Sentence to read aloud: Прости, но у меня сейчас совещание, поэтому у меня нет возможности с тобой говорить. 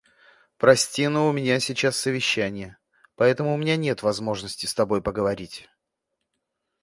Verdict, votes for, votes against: rejected, 0, 2